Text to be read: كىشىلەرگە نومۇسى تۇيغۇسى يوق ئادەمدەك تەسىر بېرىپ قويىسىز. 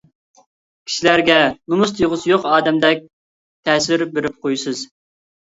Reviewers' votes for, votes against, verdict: 1, 2, rejected